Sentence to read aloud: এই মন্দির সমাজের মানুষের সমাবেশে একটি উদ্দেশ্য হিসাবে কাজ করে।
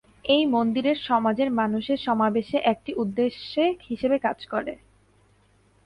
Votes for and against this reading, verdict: 1, 2, rejected